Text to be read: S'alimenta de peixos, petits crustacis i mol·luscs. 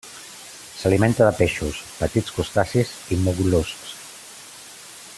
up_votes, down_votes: 1, 2